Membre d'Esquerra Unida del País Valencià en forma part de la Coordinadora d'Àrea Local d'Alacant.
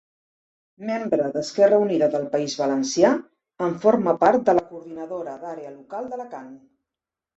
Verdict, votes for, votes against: accepted, 2, 0